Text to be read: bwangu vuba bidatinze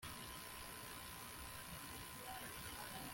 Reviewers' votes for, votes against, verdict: 0, 2, rejected